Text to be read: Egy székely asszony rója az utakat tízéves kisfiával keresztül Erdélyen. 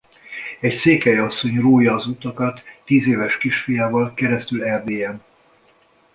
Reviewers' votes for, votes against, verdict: 2, 0, accepted